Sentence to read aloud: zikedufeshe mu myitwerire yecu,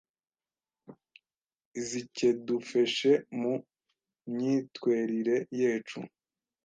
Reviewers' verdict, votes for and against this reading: rejected, 1, 2